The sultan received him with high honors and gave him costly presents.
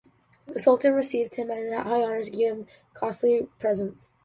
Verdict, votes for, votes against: rejected, 0, 2